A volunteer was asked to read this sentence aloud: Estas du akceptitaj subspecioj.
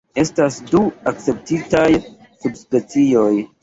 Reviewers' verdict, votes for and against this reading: accepted, 2, 0